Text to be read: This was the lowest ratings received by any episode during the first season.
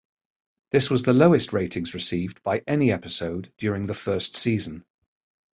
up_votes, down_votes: 2, 0